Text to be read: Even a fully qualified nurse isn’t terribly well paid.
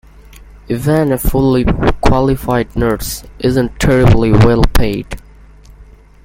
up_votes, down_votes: 2, 1